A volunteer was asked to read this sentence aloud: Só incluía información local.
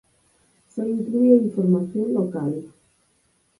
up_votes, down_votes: 0, 4